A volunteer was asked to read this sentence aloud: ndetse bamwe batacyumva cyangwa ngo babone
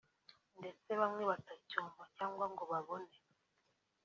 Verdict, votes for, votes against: accepted, 2, 0